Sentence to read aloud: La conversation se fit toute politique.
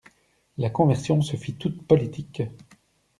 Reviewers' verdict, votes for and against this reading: rejected, 1, 2